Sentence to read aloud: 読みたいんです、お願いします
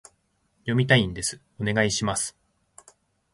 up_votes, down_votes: 2, 0